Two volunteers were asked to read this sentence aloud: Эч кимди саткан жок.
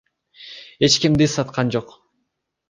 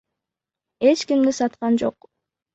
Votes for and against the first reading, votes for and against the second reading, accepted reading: 2, 0, 1, 2, first